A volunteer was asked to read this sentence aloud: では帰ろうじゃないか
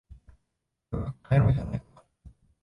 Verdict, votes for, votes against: rejected, 1, 4